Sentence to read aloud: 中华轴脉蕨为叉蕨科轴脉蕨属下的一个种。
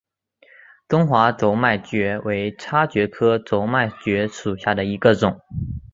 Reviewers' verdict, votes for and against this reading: accepted, 4, 1